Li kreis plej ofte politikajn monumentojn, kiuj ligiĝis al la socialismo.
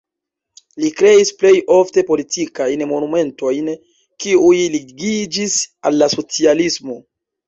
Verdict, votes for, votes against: rejected, 0, 2